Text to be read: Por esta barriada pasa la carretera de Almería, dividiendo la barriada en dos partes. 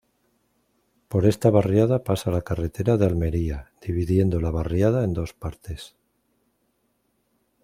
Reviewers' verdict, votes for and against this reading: accepted, 2, 0